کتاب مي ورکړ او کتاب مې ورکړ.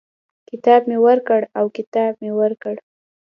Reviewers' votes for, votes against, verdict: 2, 0, accepted